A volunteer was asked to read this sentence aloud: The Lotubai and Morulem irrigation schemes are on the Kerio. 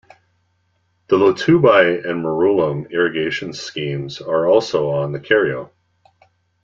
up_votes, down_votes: 2, 1